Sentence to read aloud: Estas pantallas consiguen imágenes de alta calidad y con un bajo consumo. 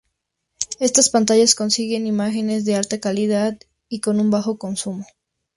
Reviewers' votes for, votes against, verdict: 2, 0, accepted